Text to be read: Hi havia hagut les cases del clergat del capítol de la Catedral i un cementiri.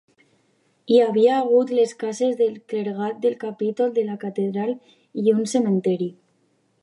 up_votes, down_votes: 3, 1